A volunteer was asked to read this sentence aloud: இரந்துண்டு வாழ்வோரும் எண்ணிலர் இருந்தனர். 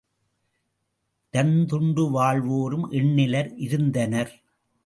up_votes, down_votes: 2, 0